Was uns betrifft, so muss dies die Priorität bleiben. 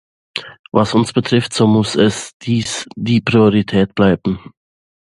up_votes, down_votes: 0, 2